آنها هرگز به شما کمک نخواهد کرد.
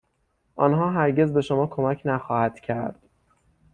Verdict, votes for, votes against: accepted, 6, 0